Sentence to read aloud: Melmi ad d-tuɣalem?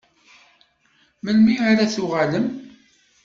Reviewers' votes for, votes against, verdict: 1, 2, rejected